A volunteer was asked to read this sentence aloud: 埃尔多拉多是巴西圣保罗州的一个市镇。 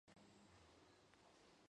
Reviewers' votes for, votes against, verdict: 1, 3, rejected